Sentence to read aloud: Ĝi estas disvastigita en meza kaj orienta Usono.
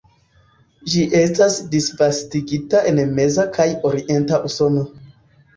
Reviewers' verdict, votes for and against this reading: rejected, 0, 2